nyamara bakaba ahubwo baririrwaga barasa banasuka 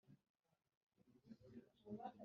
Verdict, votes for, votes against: rejected, 2, 3